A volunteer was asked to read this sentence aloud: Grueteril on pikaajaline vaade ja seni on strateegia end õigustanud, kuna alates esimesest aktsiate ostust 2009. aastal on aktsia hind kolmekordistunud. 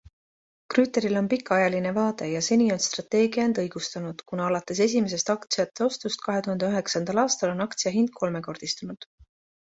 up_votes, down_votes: 0, 2